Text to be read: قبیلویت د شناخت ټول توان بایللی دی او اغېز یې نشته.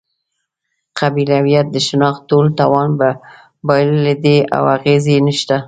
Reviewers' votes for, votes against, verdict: 0, 2, rejected